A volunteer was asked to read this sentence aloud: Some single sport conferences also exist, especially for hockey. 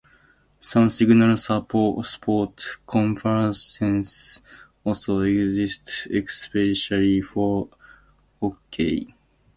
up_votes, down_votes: 0, 2